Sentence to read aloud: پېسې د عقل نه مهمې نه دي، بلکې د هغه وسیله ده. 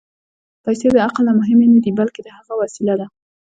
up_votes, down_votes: 1, 2